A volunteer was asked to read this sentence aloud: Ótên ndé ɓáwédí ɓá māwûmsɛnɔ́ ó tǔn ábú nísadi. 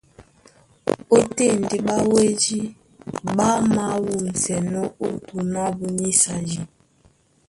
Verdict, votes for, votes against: rejected, 2, 3